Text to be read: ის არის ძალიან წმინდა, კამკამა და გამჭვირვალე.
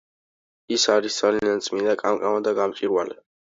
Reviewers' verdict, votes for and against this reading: accepted, 2, 0